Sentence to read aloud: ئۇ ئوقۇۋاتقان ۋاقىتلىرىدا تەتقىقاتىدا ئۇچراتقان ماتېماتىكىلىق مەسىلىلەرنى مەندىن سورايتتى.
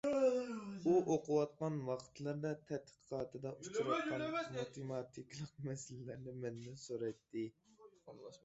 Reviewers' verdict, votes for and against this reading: rejected, 0, 2